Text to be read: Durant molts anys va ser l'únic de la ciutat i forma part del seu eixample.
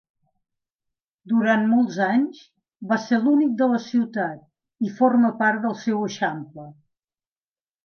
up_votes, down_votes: 2, 0